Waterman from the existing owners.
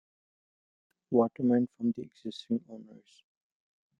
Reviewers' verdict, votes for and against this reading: accepted, 2, 1